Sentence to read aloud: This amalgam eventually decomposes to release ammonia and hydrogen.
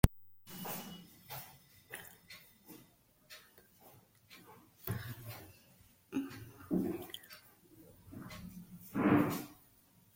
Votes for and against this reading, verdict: 0, 2, rejected